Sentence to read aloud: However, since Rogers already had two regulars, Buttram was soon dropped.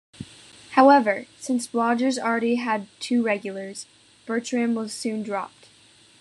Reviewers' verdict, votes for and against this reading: rejected, 1, 2